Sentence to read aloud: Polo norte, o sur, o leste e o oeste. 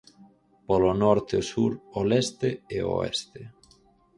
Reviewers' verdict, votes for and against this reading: rejected, 0, 4